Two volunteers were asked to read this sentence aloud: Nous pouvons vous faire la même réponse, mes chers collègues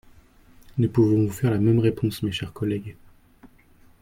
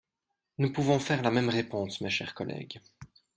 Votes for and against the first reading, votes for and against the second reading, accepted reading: 0, 2, 2, 0, second